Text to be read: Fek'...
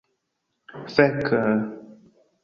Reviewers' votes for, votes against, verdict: 1, 2, rejected